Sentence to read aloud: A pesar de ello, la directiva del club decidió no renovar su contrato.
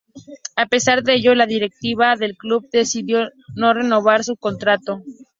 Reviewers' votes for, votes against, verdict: 2, 0, accepted